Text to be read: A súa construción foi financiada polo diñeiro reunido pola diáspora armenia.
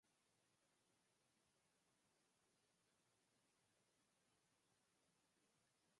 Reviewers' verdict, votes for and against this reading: rejected, 0, 4